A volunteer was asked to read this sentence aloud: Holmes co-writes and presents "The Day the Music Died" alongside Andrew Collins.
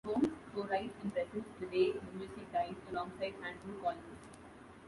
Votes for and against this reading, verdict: 0, 2, rejected